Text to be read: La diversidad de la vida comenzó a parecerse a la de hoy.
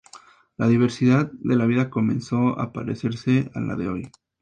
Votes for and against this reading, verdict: 2, 0, accepted